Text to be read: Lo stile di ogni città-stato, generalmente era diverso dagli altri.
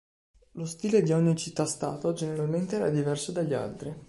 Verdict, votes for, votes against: accepted, 2, 0